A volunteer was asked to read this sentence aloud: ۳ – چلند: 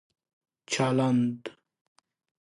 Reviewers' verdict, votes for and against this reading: rejected, 0, 2